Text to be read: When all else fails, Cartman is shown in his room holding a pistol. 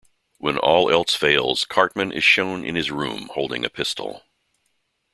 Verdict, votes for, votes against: accepted, 2, 0